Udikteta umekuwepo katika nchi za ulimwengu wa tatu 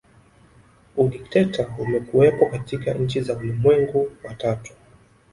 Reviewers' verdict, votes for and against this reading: accepted, 2, 0